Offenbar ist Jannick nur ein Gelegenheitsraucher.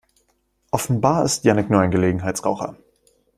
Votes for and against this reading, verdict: 2, 0, accepted